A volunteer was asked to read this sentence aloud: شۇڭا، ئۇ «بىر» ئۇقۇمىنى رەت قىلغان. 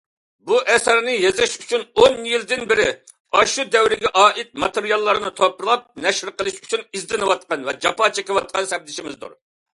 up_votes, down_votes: 0, 2